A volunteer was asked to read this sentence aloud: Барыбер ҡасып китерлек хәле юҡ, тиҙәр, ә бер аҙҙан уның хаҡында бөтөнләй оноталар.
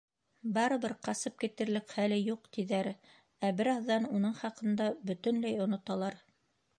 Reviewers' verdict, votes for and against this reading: accepted, 2, 0